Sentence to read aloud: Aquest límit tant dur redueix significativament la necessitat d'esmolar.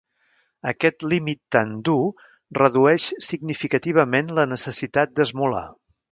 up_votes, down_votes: 2, 0